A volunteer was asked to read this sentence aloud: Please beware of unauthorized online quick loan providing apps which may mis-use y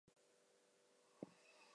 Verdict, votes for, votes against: rejected, 0, 2